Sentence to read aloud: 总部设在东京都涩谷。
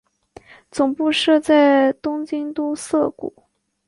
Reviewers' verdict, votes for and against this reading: accepted, 3, 1